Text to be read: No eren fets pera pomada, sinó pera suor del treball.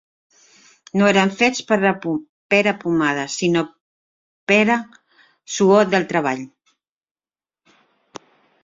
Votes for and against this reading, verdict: 0, 2, rejected